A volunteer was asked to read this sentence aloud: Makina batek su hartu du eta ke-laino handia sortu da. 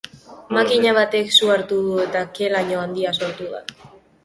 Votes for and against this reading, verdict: 1, 2, rejected